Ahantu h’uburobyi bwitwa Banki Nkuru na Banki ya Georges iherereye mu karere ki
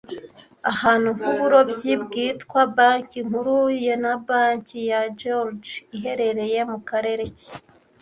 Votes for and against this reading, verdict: 1, 2, rejected